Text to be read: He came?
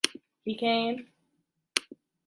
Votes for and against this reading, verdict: 1, 2, rejected